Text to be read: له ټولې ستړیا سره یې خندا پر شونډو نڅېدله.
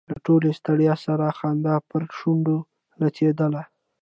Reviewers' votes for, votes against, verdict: 2, 0, accepted